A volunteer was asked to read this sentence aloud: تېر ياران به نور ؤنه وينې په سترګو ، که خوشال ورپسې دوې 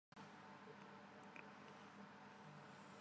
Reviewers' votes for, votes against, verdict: 0, 2, rejected